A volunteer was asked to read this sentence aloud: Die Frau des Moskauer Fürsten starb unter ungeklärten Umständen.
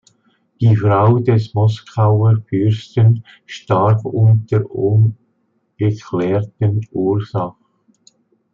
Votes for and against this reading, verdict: 1, 2, rejected